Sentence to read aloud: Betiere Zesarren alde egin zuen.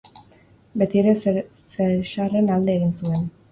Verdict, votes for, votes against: rejected, 2, 2